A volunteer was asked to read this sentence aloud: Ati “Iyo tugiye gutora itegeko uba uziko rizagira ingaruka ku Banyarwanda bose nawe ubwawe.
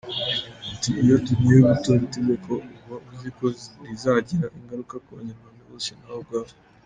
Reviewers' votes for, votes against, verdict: 0, 2, rejected